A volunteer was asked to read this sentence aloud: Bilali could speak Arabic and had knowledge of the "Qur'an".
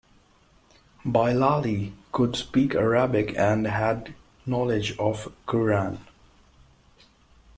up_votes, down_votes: 1, 2